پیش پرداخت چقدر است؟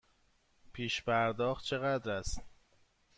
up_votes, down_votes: 2, 0